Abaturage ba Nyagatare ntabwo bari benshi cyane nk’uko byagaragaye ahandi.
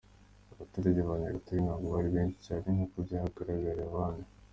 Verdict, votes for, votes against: accepted, 2, 1